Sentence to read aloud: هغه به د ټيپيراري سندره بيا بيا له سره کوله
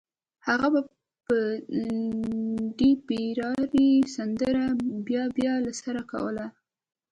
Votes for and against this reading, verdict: 1, 2, rejected